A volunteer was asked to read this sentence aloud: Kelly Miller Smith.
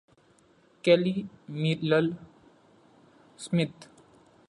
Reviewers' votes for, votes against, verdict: 1, 2, rejected